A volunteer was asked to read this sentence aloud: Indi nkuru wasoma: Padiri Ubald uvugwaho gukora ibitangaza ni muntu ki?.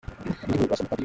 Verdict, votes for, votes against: rejected, 0, 2